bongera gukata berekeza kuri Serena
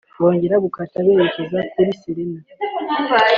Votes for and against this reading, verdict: 2, 0, accepted